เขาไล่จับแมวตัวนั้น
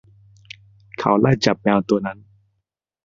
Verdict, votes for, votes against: accepted, 2, 0